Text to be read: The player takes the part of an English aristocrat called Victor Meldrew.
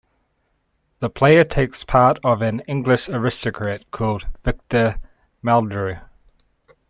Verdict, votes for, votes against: rejected, 0, 2